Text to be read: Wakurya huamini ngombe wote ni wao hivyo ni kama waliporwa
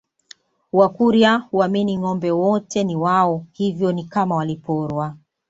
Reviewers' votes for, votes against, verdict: 2, 0, accepted